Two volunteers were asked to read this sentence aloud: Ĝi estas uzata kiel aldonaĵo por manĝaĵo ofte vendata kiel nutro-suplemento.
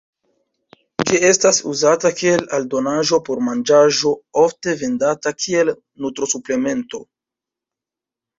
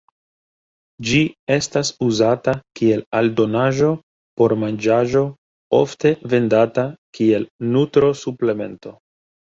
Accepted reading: second